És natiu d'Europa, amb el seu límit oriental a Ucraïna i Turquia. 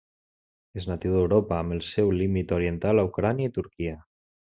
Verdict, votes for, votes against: rejected, 0, 2